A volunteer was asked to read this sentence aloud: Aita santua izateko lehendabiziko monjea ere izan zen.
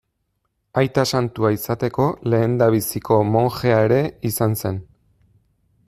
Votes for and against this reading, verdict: 2, 0, accepted